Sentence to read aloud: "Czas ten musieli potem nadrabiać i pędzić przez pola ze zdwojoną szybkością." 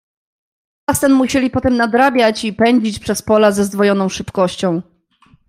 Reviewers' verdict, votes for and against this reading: rejected, 0, 2